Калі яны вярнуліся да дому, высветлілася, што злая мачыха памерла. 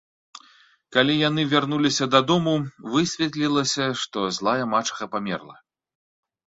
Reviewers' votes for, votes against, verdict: 2, 0, accepted